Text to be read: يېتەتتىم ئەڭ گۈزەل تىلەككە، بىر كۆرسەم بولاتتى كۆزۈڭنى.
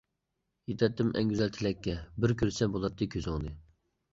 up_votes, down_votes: 2, 0